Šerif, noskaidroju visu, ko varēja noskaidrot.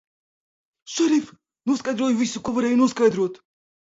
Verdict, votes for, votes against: rejected, 1, 2